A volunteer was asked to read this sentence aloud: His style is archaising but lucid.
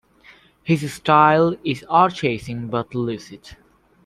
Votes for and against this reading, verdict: 1, 2, rejected